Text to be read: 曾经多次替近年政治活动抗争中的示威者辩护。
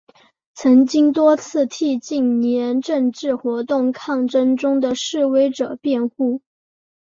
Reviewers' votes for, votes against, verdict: 2, 1, accepted